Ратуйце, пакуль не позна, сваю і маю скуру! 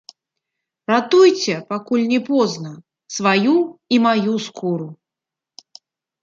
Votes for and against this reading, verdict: 2, 0, accepted